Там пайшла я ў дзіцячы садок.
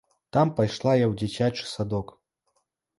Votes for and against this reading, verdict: 2, 0, accepted